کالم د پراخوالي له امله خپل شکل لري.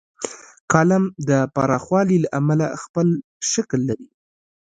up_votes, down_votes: 2, 1